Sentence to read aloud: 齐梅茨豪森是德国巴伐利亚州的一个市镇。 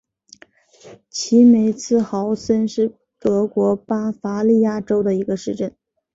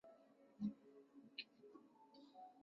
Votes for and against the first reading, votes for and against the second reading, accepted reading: 6, 0, 0, 2, first